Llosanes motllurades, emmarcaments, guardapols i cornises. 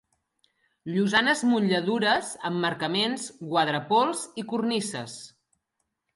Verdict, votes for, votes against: rejected, 0, 2